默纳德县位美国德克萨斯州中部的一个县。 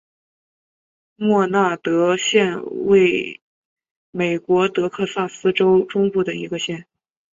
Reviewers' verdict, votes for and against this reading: accepted, 3, 0